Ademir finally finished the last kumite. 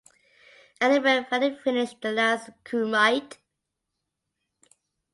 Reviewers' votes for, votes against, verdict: 2, 1, accepted